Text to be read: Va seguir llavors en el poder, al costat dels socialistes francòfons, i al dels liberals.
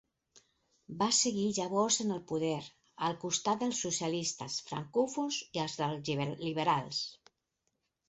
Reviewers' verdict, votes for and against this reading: accepted, 4, 2